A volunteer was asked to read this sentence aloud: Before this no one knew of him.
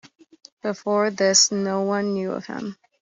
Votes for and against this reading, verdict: 2, 0, accepted